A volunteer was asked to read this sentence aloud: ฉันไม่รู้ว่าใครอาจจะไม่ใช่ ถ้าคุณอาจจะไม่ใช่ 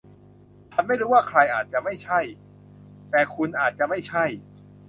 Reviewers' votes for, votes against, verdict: 0, 2, rejected